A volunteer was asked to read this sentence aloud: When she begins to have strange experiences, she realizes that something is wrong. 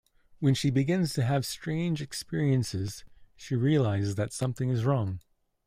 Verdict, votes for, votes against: accepted, 2, 0